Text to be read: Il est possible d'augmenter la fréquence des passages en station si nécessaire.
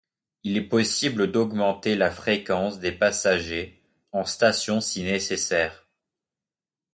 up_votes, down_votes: 0, 2